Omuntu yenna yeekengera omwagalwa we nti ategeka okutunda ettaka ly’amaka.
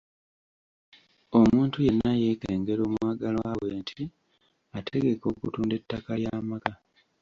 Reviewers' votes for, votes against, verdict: 1, 2, rejected